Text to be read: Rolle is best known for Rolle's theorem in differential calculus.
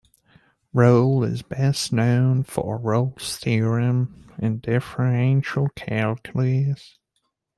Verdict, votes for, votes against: rejected, 1, 2